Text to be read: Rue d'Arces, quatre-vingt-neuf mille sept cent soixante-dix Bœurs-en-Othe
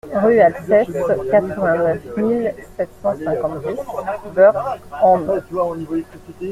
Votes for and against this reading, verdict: 1, 2, rejected